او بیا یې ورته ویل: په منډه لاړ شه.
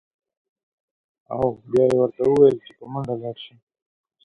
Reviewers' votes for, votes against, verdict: 2, 0, accepted